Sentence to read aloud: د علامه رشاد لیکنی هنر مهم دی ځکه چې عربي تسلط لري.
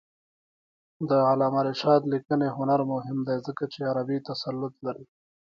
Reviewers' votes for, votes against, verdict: 3, 1, accepted